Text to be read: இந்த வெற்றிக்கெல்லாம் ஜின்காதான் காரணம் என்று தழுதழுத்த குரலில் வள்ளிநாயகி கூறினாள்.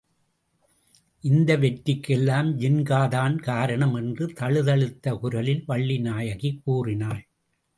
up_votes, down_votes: 2, 0